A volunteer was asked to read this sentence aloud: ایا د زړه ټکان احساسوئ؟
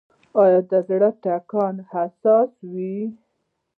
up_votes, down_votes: 1, 2